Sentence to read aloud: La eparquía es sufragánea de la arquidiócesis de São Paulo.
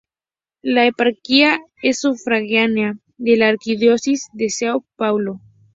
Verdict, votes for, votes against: accepted, 4, 0